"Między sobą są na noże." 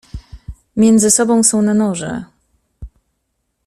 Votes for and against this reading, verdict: 2, 0, accepted